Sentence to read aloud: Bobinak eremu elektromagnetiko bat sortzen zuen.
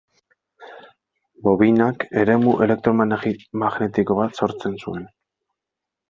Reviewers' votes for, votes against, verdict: 1, 2, rejected